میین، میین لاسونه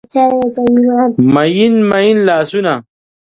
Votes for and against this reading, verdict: 0, 2, rejected